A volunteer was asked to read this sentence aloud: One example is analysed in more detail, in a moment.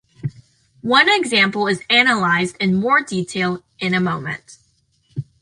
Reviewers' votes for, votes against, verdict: 2, 0, accepted